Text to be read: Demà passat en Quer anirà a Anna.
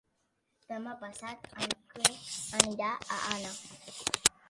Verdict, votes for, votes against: accepted, 2, 0